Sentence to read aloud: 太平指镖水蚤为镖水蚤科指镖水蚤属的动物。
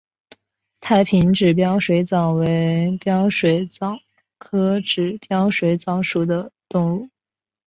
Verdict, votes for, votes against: accepted, 2, 0